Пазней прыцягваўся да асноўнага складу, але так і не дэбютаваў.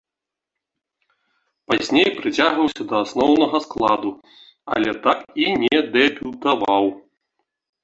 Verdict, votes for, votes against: rejected, 1, 2